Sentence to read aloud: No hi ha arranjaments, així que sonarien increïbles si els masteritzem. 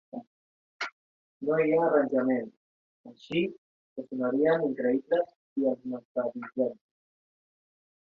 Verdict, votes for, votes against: rejected, 1, 2